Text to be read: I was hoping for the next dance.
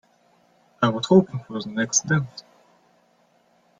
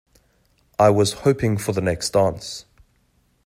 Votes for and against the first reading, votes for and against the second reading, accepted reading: 1, 2, 2, 0, second